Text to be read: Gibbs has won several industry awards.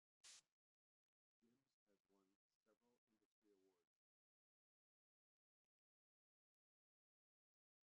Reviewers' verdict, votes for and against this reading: rejected, 0, 2